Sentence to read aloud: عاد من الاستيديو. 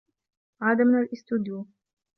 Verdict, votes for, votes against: rejected, 1, 2